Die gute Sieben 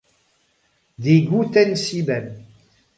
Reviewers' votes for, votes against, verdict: 2, 0, accepted